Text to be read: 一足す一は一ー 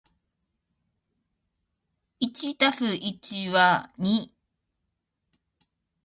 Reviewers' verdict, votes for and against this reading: rejected, 1, 2